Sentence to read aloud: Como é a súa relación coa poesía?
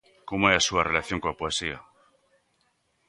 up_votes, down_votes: 2, 0